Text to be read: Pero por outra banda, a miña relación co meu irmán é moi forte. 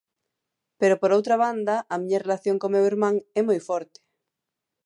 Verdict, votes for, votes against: accepted, 2, 0